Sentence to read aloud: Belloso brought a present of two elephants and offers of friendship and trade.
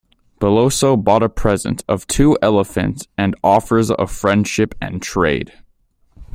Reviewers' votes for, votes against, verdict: 0, 2, rejected